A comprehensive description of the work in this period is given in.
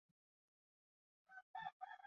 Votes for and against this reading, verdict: 0, 2, rejected